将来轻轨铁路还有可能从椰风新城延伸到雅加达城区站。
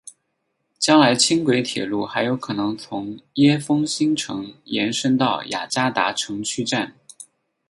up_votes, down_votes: 8, 2